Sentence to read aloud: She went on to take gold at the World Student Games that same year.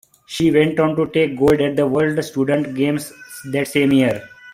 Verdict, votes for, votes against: accepted, 2, 0